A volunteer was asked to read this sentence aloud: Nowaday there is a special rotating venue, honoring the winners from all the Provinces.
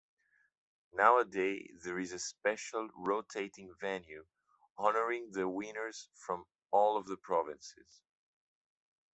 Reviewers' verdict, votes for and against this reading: rejected, 0, 2